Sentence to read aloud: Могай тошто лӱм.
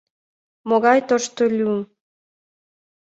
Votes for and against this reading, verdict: 2, 0, accepted